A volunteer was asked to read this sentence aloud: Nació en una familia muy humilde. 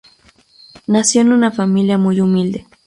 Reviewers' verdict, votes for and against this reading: rejected, 0, 2